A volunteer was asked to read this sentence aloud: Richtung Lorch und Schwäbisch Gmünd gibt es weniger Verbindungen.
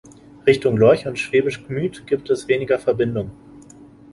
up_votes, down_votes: 0, 2